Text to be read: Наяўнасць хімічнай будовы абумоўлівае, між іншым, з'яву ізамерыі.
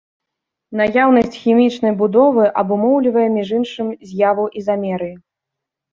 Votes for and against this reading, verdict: 2, 0, accepted